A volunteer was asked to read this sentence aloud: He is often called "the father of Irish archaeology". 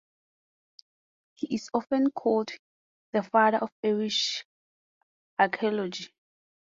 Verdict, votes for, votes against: rejected, 0, 2